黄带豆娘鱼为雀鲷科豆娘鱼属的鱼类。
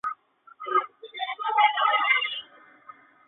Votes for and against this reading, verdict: 1, 2, rejected